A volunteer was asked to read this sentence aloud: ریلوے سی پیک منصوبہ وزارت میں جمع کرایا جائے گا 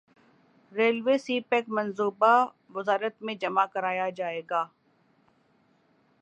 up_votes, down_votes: 1, 2